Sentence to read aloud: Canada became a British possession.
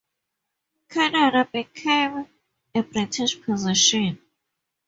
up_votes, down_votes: 2, 0